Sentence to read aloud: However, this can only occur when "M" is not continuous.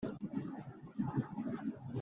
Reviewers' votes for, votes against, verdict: 0, 2, rejected